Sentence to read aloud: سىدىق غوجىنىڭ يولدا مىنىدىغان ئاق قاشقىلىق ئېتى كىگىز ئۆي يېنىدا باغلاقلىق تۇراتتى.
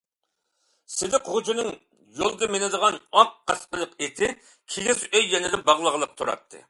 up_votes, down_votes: 1, 2